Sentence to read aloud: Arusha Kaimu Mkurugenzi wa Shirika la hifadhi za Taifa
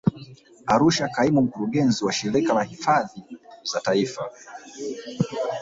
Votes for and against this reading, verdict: 1, 2, rejected